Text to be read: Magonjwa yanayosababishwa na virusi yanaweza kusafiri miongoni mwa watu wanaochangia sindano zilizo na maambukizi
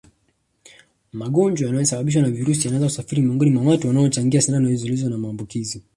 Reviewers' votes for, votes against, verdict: 2, 0, accepted